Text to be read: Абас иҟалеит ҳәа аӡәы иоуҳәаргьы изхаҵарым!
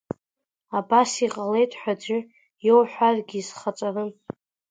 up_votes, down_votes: 2, 1